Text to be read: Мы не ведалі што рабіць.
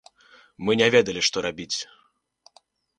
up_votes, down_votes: 2, 0